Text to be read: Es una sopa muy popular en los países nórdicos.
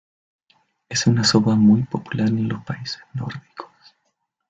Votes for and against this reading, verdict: 2, 1, accepted